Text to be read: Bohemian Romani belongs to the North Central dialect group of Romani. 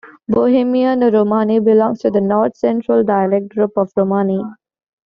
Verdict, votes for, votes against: accepted, 2, 1